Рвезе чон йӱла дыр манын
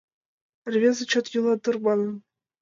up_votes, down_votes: 2, 0